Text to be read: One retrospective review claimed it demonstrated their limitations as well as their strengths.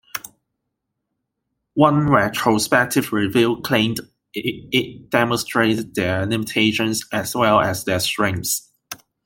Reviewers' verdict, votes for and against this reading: accepted, 2, 1